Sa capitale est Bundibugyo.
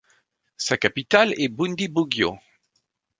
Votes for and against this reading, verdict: 1, 2, rejected